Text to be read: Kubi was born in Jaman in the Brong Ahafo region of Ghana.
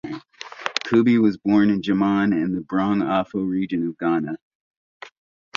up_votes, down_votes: 2, 0